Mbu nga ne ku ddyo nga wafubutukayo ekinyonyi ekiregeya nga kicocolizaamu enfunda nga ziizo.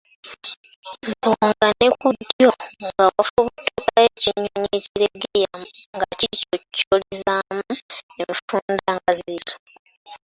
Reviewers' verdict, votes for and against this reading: accepted, 2, 1